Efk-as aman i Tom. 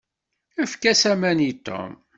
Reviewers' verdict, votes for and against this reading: accepted, 2, 0